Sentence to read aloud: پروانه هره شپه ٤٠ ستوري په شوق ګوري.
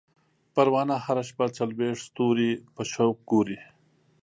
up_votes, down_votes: 0, 2